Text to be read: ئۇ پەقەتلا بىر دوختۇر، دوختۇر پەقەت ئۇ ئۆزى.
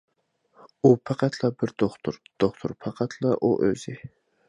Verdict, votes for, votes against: rejected, 1, 2